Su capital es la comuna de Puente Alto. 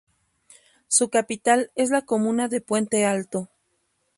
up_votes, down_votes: 2, 0